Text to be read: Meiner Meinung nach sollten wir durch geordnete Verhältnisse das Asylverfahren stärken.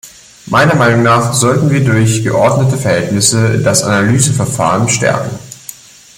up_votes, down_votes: 0, 2